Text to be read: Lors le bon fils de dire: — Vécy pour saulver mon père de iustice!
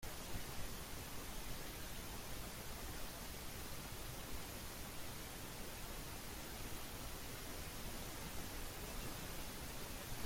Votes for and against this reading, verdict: 0, 2, rejected